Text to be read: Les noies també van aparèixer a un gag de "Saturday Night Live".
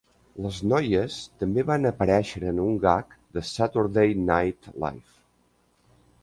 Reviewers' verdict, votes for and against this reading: rejected, 0, 2